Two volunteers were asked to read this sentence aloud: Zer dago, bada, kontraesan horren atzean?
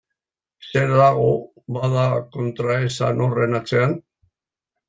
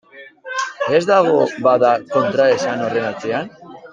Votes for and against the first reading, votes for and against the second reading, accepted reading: 2, 0, 0, 2, first